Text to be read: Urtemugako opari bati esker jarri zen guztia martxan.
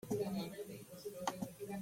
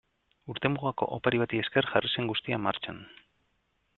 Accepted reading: second